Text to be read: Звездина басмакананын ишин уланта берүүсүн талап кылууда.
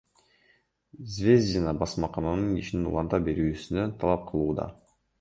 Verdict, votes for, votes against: accepted, 2, 0